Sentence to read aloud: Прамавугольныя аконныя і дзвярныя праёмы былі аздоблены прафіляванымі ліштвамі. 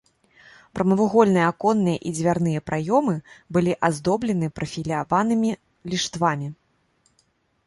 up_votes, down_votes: 0, 2